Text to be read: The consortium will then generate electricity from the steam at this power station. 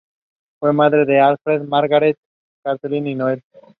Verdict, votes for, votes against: rejected, 0, 2